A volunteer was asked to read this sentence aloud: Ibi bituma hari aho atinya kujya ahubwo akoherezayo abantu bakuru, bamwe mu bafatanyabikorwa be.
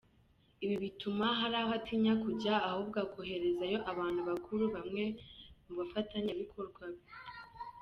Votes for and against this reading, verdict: 0, 2, rejected